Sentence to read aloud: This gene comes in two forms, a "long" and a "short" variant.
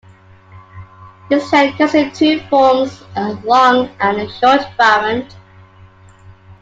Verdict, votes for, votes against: rejected, 1, 2